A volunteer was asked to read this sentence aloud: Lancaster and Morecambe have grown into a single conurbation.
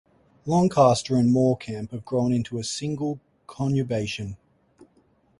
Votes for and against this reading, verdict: 4, 0, accepted